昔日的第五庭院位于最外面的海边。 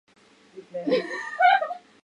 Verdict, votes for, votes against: rejected, 0, 2